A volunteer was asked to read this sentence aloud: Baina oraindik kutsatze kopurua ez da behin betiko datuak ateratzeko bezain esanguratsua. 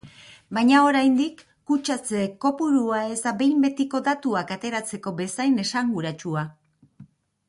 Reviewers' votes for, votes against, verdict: 2, 0, accepted